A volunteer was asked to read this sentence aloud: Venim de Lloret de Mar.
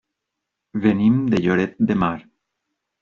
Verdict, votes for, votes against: accepted, 2, 0